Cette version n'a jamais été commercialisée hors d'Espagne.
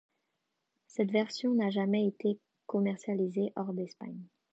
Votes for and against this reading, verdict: 2, 0, accepted